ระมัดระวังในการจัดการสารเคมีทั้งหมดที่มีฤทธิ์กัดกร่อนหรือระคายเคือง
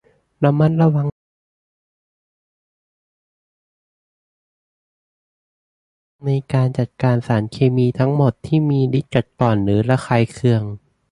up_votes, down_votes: 0, 2